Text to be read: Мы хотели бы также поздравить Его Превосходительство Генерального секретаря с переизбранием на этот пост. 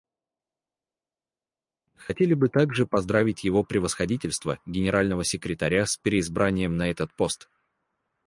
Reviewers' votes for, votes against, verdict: 0, 4, rejected